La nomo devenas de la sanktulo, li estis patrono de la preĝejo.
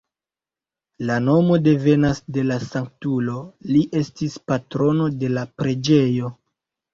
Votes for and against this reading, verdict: 1, 2, rejected